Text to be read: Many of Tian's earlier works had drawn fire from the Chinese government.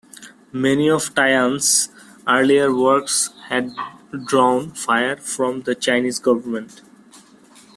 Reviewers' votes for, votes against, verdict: 2, 0, accepted